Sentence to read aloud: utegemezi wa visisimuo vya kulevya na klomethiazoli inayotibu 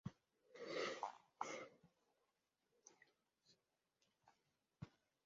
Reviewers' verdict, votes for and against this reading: rejected, 0, 2